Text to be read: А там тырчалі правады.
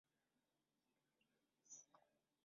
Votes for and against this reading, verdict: 0, 2, rejected